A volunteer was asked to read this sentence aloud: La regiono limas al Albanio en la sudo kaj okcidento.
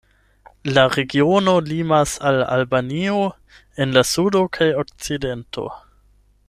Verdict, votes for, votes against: accepted, 8, 0